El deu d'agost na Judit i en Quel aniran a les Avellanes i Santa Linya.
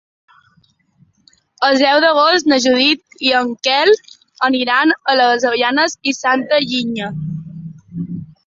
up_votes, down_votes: 2, 0